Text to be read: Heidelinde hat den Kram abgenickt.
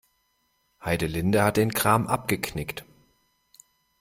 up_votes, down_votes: 1, 2